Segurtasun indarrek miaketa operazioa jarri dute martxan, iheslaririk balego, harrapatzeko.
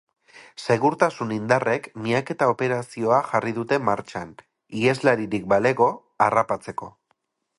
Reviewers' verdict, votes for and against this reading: accepted, 4, 0